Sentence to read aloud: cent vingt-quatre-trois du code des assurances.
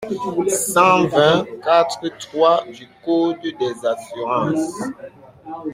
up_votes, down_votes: 2, 1